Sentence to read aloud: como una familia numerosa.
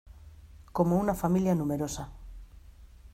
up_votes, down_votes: 2, 0